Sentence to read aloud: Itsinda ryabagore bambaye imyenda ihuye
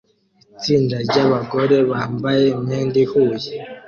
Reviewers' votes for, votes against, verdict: 2, 0, accepted